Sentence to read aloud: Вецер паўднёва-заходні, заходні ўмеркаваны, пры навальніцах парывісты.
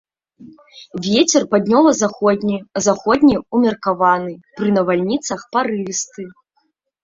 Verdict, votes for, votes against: rejected, 0, 2